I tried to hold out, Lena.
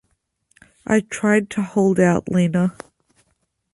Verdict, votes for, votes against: accepted, 2, 0